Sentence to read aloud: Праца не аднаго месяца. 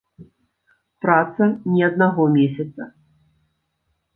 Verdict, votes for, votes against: accepted, 3, 0